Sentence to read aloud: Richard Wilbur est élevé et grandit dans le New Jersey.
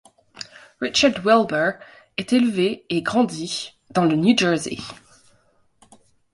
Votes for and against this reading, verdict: 2, 0, accepted